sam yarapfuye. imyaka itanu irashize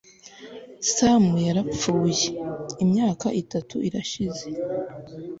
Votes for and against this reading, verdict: 1, 2, rejected